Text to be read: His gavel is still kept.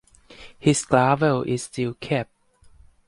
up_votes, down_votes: 4, 0